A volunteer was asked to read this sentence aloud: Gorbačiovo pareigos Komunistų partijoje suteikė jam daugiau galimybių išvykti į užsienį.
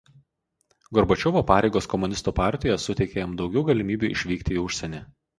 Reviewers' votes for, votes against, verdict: 0, 2, rejected